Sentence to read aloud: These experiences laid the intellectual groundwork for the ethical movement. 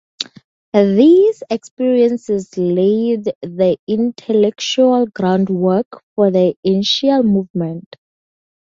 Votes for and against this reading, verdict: 0, 4, rejected